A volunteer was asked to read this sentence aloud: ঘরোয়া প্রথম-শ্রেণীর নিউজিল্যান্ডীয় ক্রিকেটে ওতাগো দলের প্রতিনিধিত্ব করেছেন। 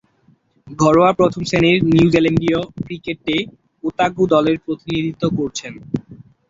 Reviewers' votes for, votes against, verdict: 2, 1, accepted